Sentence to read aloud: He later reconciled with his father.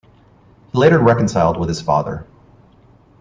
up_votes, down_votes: 0, 2